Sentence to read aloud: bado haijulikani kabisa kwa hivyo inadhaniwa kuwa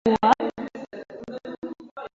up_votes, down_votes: 0, 2